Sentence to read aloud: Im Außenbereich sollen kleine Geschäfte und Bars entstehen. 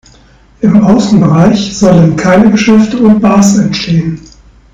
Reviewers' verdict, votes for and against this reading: rejected, 0, 2